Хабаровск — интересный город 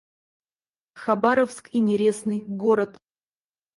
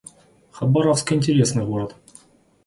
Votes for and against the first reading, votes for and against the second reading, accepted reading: 0, 4, 2, 0, second